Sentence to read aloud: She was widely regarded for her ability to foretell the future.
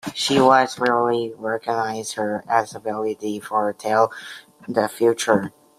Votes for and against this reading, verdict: 0, 2, rejected